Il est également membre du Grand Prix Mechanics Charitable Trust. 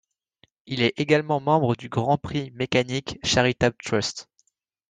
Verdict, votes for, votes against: accepted, 2, 0